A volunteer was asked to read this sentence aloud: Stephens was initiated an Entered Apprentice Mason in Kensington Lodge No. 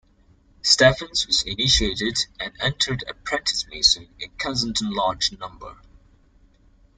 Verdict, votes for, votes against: rejected, 1, 3